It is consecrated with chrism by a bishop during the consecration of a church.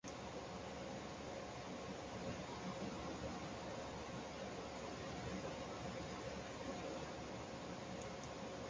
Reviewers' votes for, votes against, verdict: 0, 2, rejected